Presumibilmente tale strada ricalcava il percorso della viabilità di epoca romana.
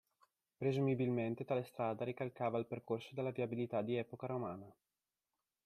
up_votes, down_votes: 2, 0